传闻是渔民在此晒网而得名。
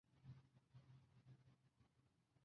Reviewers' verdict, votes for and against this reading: rejected, 0, 2